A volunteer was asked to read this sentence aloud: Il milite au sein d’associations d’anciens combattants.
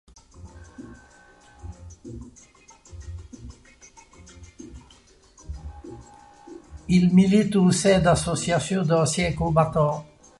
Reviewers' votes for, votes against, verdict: 1, 2, rejected